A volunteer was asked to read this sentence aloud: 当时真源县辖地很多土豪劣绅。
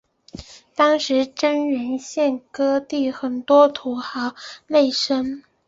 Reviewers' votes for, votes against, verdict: 2, 4, rejected